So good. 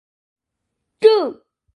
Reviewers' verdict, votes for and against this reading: rejected, 0, 2